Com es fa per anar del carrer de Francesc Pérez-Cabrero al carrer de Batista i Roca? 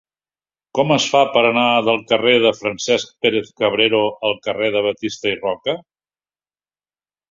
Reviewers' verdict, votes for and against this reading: accepted, 2, 0